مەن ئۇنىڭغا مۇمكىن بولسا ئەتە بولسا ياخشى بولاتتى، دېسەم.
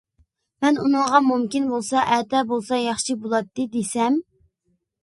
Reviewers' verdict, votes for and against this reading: accepted, 2, 0